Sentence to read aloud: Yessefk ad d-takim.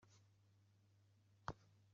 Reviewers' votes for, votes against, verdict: 1, 2, rejected